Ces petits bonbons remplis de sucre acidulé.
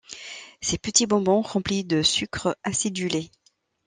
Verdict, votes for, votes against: accepted, 2, 0